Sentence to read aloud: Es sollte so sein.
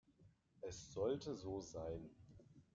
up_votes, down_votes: 2, 1